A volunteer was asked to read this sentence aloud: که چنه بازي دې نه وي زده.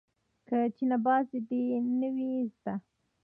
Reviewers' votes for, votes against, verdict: 1, 2, rejected